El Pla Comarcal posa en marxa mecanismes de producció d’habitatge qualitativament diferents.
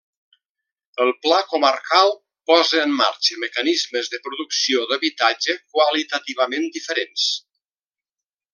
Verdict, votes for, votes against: accepted, 2, 1